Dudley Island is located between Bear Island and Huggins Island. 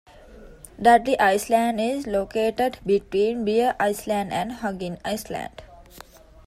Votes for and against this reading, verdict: 1, 2, rejected